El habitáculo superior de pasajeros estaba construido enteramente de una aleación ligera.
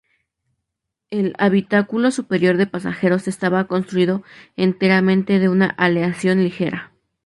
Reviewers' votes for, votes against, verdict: 2, 0, accepted